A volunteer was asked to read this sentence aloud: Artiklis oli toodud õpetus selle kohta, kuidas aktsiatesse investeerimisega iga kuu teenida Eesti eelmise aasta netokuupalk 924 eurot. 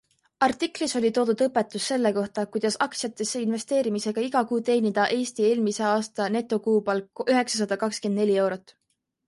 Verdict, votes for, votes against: rejected, 0, 2